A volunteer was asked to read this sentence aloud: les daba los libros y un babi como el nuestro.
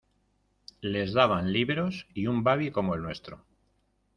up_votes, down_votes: 1, 2